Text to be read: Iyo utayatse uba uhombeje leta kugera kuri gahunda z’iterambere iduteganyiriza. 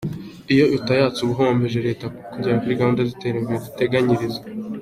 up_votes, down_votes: 2, 0